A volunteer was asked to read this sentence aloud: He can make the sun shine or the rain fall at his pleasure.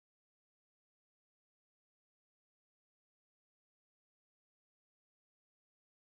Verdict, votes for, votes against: rejected, 0, 2